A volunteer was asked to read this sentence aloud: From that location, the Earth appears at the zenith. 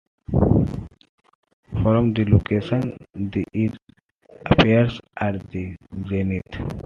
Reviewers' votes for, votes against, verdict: 0, 2, rejected